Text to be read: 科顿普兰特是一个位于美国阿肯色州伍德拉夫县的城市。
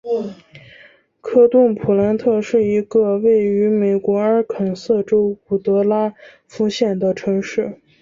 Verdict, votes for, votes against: accepted, 2, 0